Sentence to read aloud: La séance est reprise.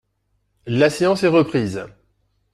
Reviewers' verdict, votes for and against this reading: accepted, 2, 0